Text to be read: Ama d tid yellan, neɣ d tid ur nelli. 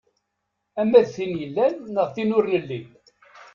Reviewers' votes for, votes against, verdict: 1, 2, rejected